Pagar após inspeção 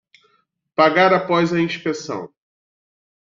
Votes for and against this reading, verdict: 2, 0, accepted